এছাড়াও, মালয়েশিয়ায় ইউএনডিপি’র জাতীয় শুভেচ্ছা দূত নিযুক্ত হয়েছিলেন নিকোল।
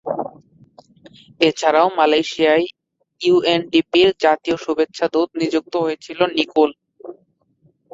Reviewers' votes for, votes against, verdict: 2, 2, rejected